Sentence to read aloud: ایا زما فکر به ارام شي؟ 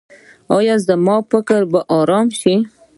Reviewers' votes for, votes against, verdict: 2, 0, accepted